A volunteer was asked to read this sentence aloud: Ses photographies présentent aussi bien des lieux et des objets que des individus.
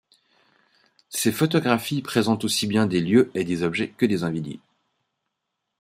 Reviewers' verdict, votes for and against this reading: rejected, 2, 3